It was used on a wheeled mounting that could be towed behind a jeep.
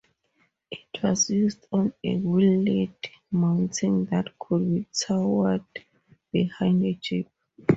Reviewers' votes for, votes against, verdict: 0, 4, rejected